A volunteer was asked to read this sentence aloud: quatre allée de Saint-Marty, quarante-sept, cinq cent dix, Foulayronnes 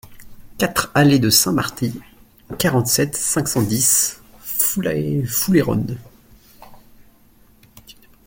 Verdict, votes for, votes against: rejected, 0, 2